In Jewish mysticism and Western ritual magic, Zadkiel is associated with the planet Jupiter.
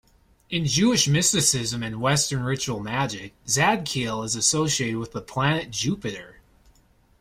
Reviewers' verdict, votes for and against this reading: accepted, 2, 0